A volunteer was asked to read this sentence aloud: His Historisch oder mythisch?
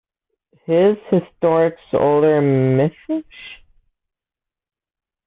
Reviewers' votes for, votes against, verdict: 2, 1, accepted